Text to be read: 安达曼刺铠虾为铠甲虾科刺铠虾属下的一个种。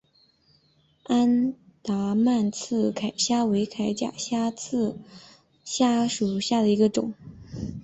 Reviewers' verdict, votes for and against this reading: rejected, 1, 2